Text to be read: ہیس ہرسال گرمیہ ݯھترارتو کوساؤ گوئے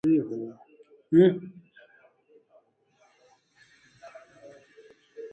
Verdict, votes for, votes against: rejected, 0, 2